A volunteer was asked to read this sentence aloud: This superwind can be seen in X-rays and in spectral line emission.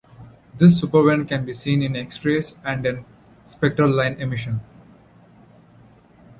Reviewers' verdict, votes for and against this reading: accepted, 2, 0